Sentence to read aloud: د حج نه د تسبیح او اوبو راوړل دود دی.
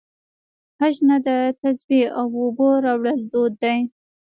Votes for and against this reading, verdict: 0, 2, rejected